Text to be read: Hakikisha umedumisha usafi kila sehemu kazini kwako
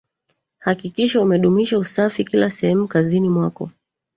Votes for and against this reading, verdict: 1, 2, rejected